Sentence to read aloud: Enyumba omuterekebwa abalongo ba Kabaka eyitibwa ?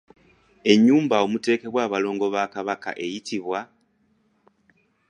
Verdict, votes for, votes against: accepted, 2, 0